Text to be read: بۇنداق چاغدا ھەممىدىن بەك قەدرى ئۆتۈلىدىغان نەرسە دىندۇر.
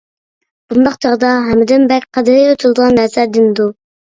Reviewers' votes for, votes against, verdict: 1, 2, rejected